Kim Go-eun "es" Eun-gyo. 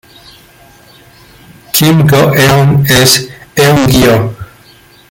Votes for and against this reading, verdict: 2, 1, accepted